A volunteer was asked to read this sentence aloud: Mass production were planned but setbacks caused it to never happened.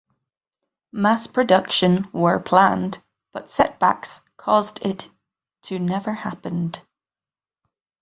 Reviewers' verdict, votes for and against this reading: accepted, 8, 0